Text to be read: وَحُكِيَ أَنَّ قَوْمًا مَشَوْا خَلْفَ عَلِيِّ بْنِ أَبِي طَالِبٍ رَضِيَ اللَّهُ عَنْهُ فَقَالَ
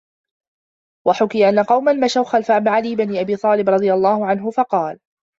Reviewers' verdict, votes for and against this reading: rejected, 1, 2